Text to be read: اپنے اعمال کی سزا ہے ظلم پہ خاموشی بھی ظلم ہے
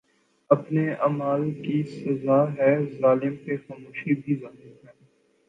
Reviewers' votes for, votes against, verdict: 2, 2, rejected